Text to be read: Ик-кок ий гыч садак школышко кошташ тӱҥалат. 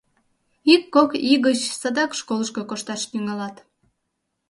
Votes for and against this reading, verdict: 2, 0, accepted